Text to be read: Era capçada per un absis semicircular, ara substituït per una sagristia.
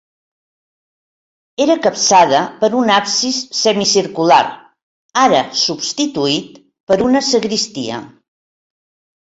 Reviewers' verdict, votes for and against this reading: accepted, 6, 0